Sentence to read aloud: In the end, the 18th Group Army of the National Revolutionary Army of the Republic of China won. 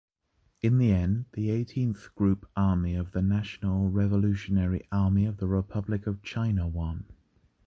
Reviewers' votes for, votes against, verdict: 0, 2, rejected